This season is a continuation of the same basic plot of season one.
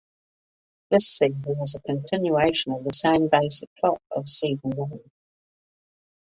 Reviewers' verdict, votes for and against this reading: rejected, 0, 2